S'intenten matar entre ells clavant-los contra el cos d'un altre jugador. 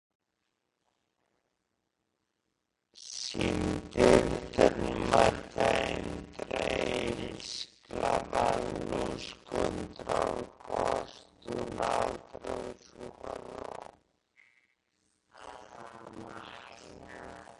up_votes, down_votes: 0, 2